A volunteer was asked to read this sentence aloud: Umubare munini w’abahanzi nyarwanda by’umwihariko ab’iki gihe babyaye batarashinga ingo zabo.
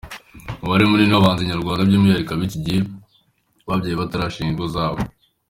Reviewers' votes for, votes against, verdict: 2, 0, accepted